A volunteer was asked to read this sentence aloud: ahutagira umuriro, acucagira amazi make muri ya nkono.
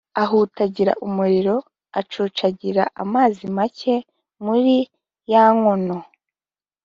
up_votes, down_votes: 2, 0